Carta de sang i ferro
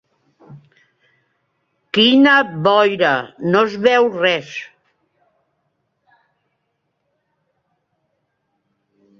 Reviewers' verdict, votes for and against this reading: rejected, 0, 2